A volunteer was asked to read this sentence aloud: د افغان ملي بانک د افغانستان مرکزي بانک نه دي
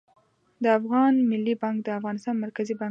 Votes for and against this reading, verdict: 0, 2, rejected